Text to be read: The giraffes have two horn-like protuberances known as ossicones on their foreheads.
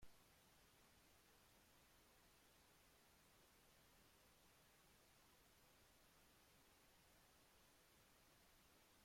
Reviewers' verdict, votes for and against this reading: rejected, 0, 2